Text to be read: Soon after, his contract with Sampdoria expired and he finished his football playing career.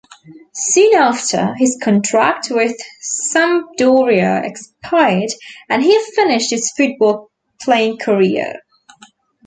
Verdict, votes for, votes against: accepted, 2, 0